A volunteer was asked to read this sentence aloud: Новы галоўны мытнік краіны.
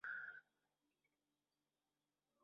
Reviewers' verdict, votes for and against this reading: rejected, 0, 2